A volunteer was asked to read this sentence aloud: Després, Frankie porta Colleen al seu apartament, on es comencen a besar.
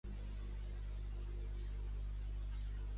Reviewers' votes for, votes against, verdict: 0, 2, rejected